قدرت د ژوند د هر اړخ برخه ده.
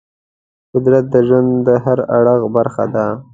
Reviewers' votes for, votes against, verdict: 2, 0, accepted